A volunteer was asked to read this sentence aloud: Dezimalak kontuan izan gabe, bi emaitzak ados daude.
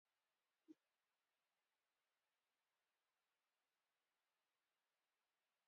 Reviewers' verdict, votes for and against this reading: rejected, 0, 2